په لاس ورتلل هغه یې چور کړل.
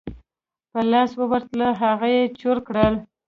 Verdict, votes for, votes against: rejected, 1, 2